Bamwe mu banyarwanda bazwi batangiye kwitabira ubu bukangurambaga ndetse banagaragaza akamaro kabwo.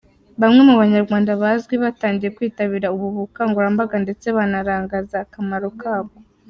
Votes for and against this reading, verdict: 0, 2, rejected